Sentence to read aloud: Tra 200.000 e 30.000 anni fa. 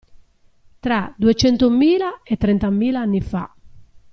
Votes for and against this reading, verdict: 0, 2, rejected